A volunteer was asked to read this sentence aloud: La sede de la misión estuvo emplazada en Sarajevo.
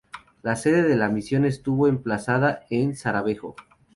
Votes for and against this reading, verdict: 2, 2, rejected